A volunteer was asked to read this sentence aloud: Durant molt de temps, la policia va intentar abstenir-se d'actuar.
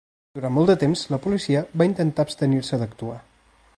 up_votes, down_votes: 2, 0